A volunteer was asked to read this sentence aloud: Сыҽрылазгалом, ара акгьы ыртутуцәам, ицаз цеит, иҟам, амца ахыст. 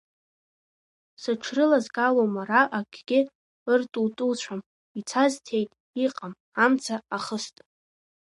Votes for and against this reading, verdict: 2, 0, accepted